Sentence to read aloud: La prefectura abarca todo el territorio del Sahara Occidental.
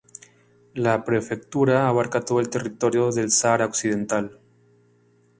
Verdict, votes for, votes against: rejected, 0, 2